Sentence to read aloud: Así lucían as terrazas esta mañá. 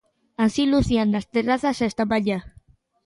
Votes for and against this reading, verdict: 2, 0, accepted